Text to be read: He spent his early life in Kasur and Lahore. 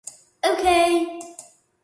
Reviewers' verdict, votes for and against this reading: rejected, 0, 2